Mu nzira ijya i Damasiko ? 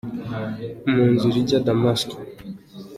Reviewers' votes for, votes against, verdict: 2, 0, accepted